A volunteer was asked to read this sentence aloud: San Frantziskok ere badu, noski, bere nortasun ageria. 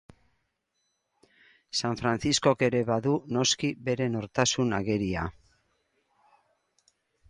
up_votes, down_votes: 4, 0